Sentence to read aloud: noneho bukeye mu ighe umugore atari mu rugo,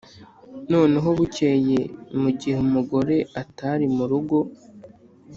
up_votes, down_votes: 2, 0